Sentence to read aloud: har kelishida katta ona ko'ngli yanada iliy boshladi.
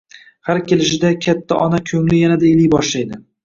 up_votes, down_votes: 1, 2